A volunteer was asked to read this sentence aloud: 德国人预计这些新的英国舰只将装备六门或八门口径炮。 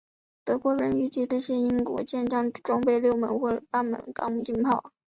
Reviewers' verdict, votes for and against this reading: rejected, 1, 2